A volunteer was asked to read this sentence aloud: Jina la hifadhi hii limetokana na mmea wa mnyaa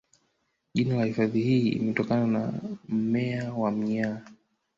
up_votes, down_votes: 2, 0